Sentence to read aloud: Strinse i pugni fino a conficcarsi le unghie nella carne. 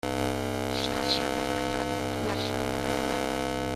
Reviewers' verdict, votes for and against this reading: rejected, 0, 2